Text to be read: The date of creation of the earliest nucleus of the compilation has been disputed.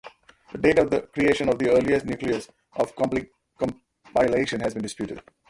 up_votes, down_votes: 0, 2